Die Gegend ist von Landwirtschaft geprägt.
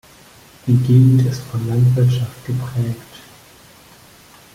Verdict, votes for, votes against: rejected, 1, 2